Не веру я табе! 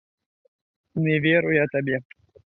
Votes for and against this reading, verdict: 2, 0, accepted